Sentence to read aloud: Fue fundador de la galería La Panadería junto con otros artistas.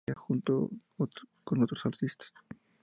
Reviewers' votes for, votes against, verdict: 0, 2, rejected